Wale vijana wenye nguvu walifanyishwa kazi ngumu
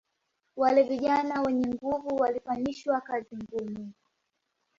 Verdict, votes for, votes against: accepted, 2, 0